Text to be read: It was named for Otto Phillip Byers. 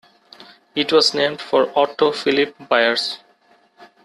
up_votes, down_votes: 2, 0